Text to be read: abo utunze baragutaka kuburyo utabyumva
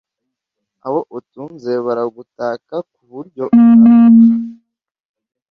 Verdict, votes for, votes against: rejected, 1, 2